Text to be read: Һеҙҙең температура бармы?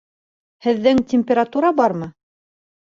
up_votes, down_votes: 2, 0